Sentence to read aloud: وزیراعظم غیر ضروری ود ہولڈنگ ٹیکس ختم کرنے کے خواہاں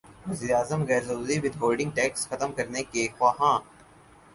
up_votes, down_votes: 4, 0